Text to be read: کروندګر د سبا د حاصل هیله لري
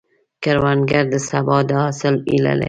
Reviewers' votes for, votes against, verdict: 1, 2, rejected